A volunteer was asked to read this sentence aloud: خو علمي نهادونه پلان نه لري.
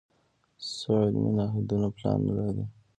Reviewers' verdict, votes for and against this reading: rejected, 1, 2